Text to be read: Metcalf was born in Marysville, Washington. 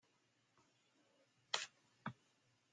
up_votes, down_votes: 0, 2